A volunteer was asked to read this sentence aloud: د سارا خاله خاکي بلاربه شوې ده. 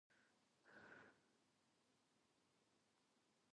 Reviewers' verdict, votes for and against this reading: rejected, 0, 2